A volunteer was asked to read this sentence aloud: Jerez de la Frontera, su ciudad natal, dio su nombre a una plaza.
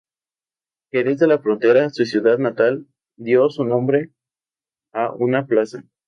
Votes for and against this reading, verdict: 2, 0, accepted